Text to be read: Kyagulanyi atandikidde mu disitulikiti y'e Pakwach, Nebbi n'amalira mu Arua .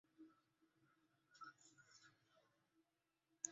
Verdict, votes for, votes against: rejected, 0, 2